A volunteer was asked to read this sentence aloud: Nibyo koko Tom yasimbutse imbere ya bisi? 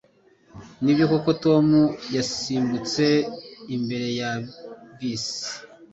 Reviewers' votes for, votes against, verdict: 2, 0, accepted